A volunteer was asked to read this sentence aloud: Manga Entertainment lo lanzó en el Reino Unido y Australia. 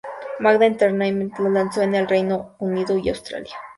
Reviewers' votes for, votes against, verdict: 2, 2, rejected